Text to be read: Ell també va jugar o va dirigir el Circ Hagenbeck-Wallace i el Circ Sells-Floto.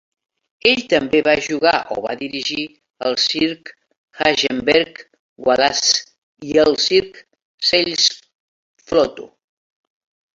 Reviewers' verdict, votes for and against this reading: rejected, 0, 2